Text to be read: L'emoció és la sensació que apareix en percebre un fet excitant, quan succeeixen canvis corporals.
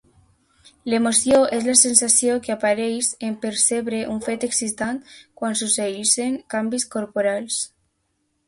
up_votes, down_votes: 0, 3